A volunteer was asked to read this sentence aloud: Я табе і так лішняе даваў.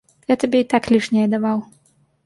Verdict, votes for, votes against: accepted, 2, 0